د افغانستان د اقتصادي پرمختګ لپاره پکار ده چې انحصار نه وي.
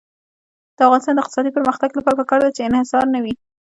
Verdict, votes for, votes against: accepted, 2, 0